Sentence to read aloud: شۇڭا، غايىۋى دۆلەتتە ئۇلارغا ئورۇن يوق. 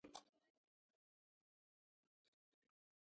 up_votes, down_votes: 0, 2